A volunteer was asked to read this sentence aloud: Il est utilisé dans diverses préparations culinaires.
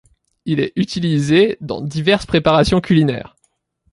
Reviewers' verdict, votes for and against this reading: accepted, 2, 0